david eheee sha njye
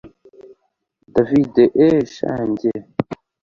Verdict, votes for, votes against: accepted, 2, 0